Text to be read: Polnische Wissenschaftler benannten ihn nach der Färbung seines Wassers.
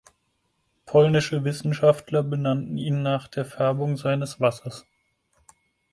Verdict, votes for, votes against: accepted, 4, 0